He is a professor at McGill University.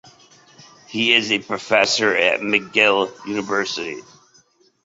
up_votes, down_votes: 2, 0